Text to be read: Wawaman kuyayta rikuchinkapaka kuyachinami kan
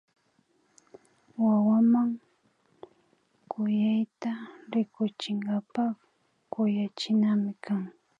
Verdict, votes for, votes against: rejected, 0, 2